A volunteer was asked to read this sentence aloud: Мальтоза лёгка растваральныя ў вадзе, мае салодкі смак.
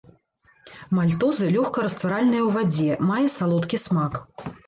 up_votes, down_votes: 0, 2